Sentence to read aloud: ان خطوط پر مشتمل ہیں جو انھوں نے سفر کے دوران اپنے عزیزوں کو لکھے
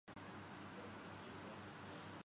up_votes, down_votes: 0, 2